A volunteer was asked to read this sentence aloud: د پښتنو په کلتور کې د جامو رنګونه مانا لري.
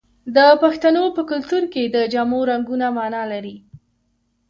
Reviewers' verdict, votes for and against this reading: accepted, 2, 0